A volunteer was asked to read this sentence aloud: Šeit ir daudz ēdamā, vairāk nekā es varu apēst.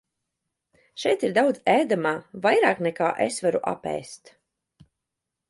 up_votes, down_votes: 2, 0